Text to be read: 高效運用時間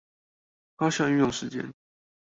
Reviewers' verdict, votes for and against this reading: rejected, 0, 2